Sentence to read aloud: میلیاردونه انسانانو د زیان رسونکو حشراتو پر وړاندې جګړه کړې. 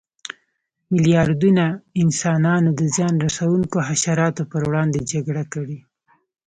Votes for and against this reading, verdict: 0, 2, rejected